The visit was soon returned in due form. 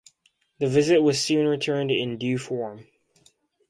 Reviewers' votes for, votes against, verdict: 2, 0, accepted